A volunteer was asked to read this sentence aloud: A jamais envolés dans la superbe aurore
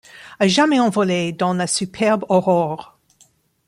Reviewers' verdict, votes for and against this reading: accepted, 2, 0